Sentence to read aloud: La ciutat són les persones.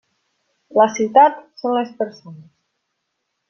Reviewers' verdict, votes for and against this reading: rejected, 0, 2